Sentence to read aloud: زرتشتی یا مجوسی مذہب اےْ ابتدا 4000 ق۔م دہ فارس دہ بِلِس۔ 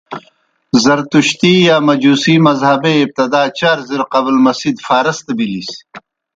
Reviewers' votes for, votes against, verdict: 0, 2, rejected